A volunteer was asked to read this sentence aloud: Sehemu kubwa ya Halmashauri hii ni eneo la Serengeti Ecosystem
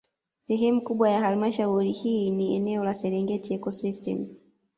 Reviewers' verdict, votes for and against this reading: rejected, 1, 2